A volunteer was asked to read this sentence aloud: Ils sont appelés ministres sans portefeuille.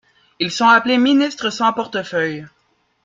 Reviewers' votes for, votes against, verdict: 2, 0, accepted